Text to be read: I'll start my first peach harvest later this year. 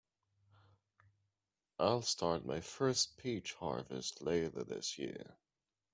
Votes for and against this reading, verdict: 2, 0, accepted